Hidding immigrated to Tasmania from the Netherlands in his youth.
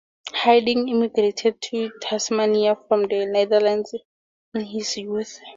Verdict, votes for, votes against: accepted, 2, 0